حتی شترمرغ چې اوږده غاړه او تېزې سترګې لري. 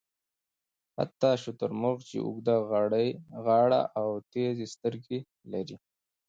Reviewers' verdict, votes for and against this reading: rejected, 1, 2